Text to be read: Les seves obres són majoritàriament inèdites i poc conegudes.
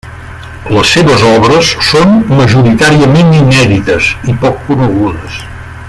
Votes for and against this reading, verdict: 0, 2, rejected